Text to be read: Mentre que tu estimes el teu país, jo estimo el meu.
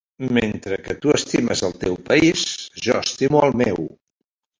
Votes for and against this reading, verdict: 3, 1, accepted